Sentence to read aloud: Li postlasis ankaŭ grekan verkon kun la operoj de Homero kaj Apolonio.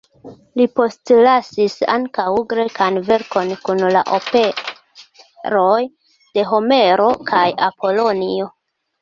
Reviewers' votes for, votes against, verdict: 1, 2, rejected